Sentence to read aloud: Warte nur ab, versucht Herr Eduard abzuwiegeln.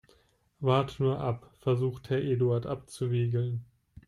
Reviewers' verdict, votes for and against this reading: accepted, 2, 0